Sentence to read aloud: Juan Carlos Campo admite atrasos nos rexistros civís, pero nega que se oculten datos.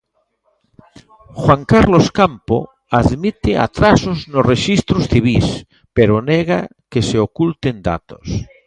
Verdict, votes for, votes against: accepted, 2, 0